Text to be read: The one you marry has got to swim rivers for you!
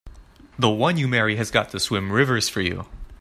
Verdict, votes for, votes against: accepted, 2, 0